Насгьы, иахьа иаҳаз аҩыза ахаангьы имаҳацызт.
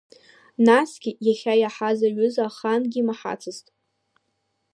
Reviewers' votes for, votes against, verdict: 3, 0, accepted